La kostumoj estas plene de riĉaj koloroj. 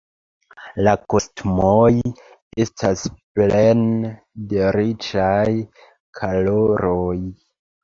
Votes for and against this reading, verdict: 0, 2, rejected